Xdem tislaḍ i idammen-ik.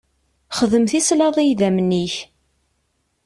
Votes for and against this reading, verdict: 2, 0, accepted